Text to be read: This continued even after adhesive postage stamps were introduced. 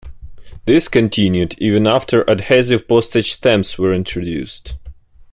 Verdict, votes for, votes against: accepted, 3, 2